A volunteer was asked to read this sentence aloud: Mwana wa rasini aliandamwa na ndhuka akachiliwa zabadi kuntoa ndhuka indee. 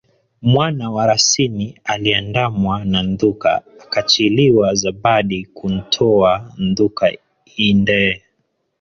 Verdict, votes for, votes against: accepted, 2, 1